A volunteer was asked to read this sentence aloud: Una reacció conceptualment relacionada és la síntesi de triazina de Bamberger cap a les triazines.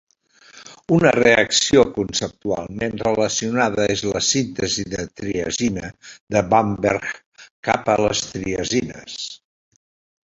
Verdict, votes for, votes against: accepted, 2, 0